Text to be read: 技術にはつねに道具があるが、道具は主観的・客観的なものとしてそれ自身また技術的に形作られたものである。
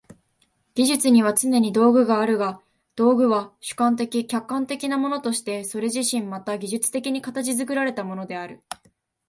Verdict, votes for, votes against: accepted, 4, 0